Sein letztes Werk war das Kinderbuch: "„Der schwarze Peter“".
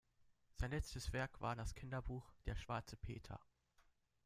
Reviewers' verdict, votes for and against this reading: accepted, 2, 0